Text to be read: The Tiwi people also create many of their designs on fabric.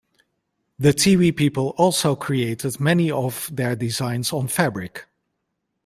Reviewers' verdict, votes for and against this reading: rejected, 0, 2